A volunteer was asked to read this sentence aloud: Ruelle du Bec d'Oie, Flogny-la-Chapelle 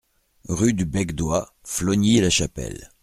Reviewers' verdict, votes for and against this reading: rejected, 1, 2